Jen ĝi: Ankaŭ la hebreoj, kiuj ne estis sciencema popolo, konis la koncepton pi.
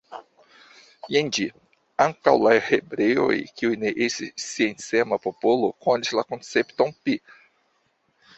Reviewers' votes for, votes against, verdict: 1, 2, rejected